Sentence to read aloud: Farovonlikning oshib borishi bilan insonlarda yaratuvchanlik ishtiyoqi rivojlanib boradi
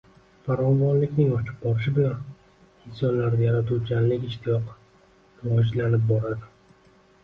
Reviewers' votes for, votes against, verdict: 1, 2, rejected